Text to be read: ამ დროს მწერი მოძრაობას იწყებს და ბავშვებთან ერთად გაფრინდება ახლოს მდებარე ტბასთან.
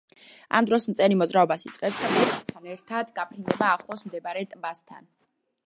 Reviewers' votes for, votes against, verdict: 1, 2, rejected